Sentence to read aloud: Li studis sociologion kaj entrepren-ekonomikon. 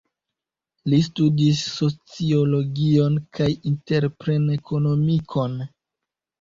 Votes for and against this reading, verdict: 1, 2, rejected